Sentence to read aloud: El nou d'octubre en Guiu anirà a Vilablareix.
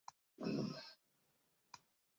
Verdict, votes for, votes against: rejected, 0, 2